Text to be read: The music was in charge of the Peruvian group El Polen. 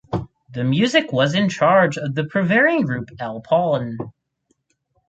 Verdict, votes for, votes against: rejected, 2, 4